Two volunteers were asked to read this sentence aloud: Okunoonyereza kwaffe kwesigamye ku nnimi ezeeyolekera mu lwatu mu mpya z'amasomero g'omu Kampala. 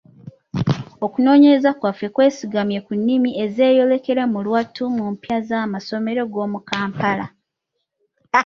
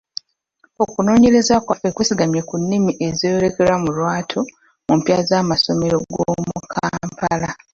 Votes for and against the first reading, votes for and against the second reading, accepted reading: 2, 0, 0, 2, first